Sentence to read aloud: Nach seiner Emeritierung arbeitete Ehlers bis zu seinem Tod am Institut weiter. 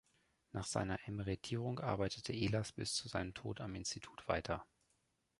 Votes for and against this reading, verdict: 2, 0, accepted